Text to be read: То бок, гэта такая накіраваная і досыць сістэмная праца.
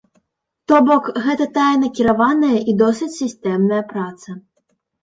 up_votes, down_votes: 0, 2